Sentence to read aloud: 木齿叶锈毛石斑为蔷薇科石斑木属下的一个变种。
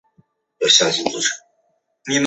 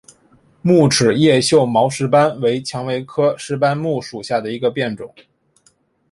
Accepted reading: second